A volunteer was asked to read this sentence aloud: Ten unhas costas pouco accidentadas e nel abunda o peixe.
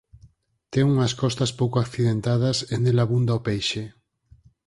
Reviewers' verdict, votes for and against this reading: accepted, 4, 0